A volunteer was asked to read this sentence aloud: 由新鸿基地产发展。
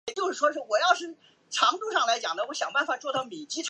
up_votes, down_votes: 0, 2